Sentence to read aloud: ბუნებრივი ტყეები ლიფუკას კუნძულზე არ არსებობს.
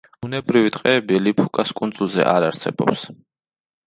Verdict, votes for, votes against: accepted, 2, 0